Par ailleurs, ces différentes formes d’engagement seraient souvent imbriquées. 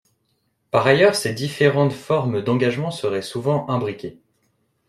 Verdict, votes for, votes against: accepted, 2, 0